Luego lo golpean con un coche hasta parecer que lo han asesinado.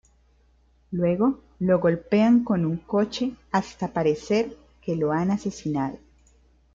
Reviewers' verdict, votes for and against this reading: rejected, 1, 2